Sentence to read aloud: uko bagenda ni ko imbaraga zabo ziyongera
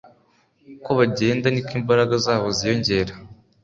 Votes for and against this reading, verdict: 2, 0, accepted